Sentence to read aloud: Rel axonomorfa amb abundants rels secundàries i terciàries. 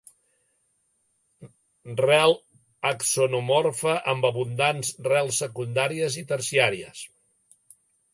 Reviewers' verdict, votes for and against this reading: accepted, 2, 0